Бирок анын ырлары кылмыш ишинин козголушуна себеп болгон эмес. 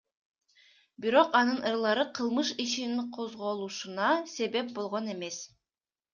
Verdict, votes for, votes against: accepted, 2, 0